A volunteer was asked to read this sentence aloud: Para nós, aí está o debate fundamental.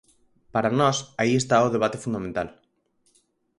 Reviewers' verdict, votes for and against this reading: accepted, 4, 0